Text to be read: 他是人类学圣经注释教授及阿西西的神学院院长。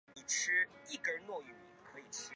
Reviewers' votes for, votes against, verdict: 0, 2, rejected